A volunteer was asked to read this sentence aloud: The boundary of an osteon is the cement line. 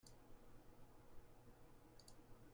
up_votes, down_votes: 0, 2